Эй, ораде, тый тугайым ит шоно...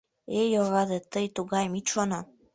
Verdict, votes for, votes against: rejected, 0, 2